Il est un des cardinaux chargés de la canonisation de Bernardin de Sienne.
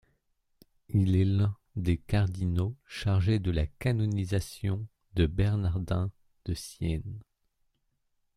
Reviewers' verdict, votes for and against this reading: rejected, 0, 2